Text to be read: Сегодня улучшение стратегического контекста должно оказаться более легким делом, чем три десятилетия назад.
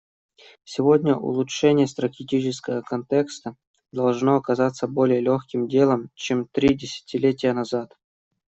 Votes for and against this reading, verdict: 0, 2, rejected